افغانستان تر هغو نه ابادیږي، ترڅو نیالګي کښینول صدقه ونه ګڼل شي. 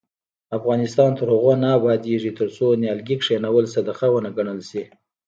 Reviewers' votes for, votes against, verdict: 1, 2, rejected